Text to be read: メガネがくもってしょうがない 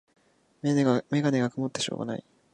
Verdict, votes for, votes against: rejected, 1, 2